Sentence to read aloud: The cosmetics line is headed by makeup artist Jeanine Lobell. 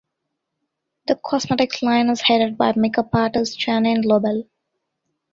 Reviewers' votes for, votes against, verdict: 1, 2, rejected